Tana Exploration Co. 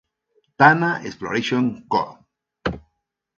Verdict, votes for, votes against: accepted, 2, 0